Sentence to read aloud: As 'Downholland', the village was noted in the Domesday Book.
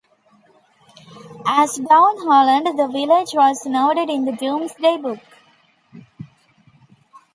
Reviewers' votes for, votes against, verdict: 2, 1, accepted